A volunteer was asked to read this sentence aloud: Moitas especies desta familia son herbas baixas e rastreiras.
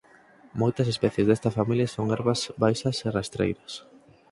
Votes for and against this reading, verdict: 4, 0, accepted